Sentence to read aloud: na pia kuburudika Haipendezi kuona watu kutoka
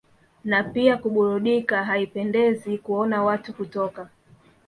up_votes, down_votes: 3, 0